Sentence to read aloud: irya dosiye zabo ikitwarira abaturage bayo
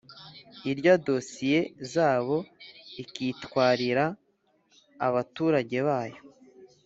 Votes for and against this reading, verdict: 2, 0, accepted